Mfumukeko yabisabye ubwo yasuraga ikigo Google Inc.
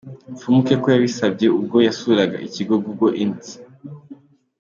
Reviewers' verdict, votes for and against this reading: accepted, 2, 0